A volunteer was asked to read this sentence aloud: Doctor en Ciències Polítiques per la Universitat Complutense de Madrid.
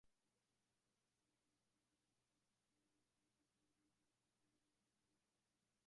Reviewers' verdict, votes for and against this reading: rejected, 1, 2